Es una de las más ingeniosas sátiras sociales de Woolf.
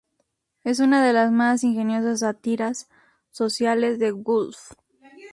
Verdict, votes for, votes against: rejected, 0, 2